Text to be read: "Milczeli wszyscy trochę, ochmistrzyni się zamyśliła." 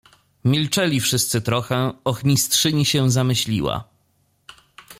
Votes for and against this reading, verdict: 2, 0, accepted